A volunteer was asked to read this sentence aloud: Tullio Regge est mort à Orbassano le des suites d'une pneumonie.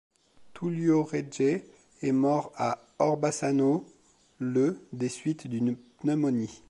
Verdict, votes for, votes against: rejected, 0, 2